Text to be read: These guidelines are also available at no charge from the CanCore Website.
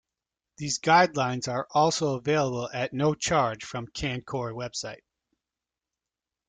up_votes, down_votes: 1, 2